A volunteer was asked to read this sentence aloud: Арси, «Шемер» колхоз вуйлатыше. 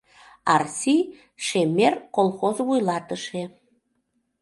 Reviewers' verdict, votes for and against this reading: accepted, 2, 0